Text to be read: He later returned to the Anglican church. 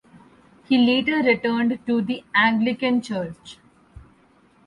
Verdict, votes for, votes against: accepted, 4, 0